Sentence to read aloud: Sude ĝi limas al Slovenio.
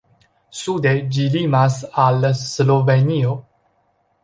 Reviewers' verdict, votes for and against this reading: accepted, 2, 0